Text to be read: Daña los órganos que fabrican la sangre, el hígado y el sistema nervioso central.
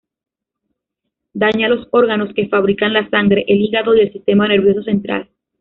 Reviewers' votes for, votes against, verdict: 1, 2, rejected